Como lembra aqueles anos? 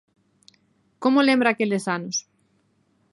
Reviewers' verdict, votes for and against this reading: accepted, 2, 0